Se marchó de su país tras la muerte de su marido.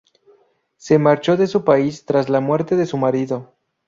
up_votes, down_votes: 0, 2